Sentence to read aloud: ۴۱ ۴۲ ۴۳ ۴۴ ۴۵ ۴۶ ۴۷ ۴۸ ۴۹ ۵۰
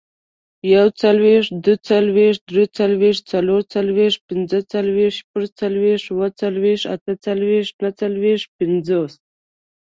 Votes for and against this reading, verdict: 0, 2, rejected